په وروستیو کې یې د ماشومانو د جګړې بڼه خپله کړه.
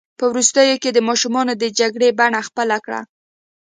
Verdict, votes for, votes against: accepted, 2, 0